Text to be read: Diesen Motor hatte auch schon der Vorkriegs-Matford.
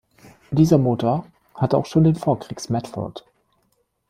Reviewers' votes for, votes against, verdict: 0, 2, rejected